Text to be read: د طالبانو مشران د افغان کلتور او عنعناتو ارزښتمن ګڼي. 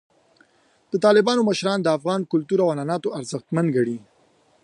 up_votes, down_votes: 3, 0